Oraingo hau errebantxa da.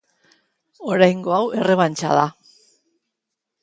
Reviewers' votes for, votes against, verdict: 2, 1, accepted